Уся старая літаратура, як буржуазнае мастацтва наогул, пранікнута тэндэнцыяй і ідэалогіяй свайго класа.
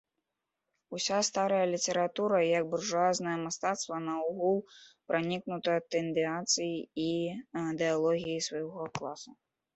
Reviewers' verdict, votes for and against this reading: rejected, 0, 2